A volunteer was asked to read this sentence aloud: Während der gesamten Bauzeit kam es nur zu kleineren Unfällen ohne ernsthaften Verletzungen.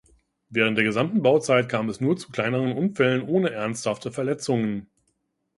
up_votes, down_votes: 1, 2